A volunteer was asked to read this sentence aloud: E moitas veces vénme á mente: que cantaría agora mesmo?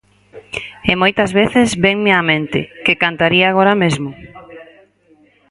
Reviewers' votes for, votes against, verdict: 2, 4, rejected